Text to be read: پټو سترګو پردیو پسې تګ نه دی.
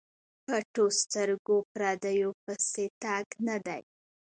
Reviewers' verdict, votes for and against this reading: accepted, 2, 1